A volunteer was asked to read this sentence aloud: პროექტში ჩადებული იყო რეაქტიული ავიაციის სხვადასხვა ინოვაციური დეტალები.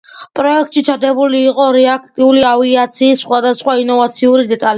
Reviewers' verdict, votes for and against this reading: accepted, 2, 0